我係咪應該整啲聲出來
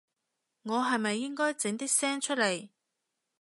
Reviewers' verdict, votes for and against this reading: rejected, 1, 2